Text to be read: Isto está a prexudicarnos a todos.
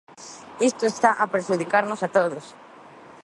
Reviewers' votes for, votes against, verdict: 2, 0, accepted